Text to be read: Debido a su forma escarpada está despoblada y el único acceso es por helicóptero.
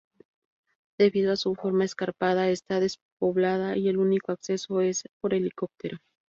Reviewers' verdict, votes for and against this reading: accepted, 2, 0